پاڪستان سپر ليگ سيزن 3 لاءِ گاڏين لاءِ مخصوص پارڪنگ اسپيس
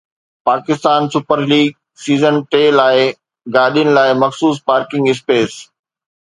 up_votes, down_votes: 0, 2